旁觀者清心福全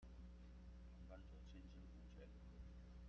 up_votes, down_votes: 0, 2